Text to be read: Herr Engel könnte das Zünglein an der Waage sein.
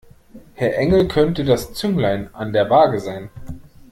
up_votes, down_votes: 2, 0